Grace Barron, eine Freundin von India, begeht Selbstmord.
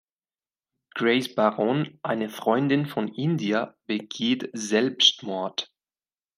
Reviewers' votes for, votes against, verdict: 3, 0, accepted